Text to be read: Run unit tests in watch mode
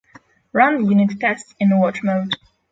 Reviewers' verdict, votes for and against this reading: accepted, 3, 0